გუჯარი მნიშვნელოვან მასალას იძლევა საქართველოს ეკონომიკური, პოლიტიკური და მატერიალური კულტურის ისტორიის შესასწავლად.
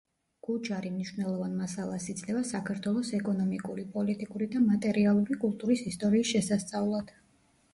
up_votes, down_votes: 2, 0